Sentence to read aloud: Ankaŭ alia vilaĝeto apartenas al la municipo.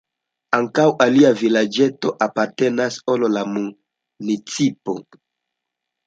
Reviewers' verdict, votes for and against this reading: rejected, 0, 2